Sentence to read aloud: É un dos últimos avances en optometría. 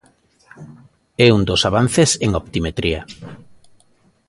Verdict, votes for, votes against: rejected, 0, 2